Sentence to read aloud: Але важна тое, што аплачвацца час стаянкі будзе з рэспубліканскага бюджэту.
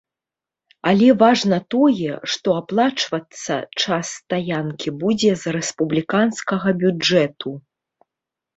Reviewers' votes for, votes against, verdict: 2, 0, accepted